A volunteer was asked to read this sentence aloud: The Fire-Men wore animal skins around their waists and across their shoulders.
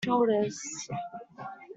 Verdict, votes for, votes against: rejected, 0, 2